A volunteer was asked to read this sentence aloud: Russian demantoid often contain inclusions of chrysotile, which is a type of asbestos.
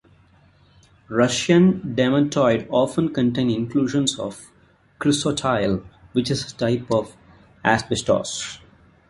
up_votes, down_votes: 2, 1